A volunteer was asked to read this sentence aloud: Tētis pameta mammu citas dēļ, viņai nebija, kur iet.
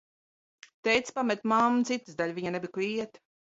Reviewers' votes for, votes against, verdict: 2, 0, accepted